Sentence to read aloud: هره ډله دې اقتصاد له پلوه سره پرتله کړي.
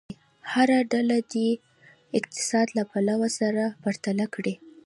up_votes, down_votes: 0, 2